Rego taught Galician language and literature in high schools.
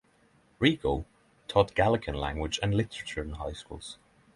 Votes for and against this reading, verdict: 6, 0, accepted